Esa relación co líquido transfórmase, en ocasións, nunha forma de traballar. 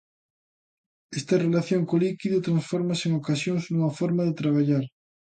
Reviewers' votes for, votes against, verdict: 0, 2, rejected